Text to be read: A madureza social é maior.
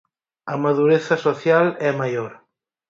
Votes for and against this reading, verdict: 4, 0, accepted